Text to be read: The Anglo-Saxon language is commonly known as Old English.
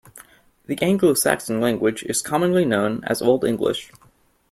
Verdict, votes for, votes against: accepted, 2, 0